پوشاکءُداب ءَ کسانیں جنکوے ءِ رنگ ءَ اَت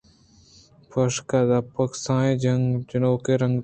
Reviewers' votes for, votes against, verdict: 2, 0, accepted